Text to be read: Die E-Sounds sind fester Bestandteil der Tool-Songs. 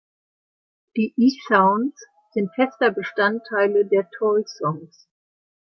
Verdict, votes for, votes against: rejected, 0, 2